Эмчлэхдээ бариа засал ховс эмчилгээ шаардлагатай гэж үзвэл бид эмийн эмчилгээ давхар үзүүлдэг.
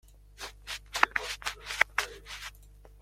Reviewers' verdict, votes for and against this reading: rejected, 0, 2